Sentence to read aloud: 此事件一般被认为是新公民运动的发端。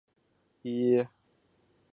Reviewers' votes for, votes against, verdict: 0, 2, rejected